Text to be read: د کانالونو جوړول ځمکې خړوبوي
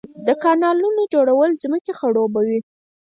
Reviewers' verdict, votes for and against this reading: rejected, 2, 4